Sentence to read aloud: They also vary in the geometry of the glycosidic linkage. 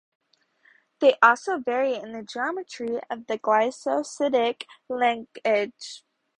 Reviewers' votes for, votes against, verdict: 2, 2, rejected